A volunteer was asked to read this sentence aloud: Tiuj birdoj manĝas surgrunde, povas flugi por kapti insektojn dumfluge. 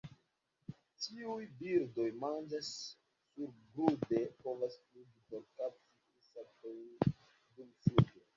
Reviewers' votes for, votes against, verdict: 0, 2, rejected